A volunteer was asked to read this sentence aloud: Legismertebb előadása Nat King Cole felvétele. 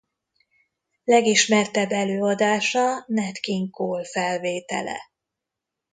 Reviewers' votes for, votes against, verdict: 2, 0, accepted